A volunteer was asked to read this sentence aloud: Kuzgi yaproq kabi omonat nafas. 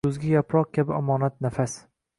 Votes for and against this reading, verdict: 2, 0, accepted